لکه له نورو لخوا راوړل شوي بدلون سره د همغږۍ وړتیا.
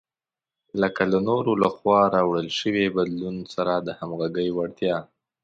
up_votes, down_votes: 2, 0